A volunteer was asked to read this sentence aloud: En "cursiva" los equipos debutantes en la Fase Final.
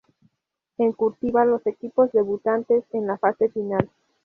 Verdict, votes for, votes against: rejected, 0, 2